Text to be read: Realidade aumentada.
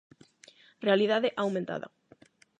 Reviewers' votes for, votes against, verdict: 8, 0, accepted